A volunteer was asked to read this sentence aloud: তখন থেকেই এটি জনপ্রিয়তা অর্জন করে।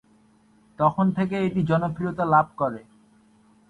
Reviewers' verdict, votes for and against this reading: rejected, 4, 7